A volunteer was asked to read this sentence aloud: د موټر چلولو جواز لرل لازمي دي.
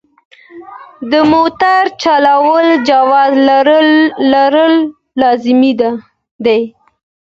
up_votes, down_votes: 2, 0